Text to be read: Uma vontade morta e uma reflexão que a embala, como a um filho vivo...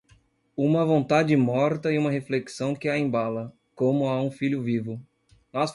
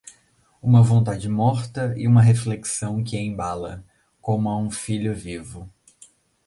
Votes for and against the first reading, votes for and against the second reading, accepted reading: 1, 2, 2, 0, second